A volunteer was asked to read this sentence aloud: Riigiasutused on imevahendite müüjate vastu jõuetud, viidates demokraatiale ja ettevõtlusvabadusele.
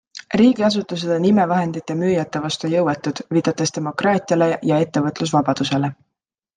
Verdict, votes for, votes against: accepted, 2, 0